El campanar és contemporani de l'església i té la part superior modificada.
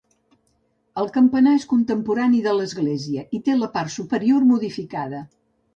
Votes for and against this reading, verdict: 2, 0, accepted